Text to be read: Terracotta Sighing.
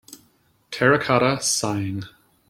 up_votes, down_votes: 2, 0